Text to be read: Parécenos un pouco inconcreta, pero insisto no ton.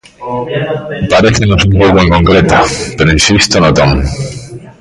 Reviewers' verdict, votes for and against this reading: rejected, 1, 2